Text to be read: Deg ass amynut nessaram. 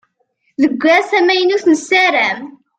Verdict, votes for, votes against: accepted, 2, 0